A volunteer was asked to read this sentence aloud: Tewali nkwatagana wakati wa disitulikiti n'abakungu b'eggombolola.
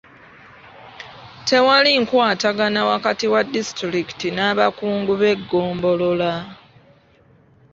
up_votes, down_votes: 2, 0